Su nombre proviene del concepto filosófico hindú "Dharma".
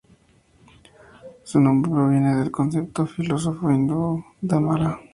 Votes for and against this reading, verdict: 2, 0, accepted